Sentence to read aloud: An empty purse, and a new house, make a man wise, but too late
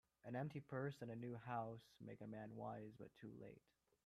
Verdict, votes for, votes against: rejected, 0, 4